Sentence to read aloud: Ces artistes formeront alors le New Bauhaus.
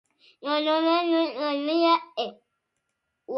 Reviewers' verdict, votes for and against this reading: rejected, 0, 2